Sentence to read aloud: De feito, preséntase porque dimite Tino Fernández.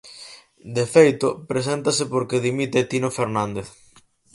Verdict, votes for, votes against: accepted, 4, 0